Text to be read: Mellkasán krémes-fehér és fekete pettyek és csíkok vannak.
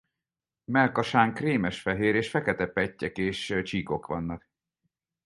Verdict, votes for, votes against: rejected, 0, 4